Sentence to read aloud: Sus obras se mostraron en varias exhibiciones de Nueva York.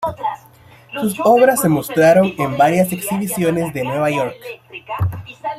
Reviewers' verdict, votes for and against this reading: rejected, 1, 2